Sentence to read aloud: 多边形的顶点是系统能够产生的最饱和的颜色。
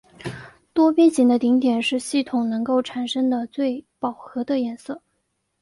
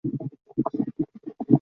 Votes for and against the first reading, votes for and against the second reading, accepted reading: 2, 0, 3, 7, first